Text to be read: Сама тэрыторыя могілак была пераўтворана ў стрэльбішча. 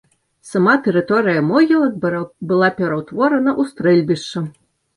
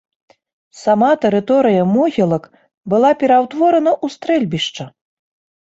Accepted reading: second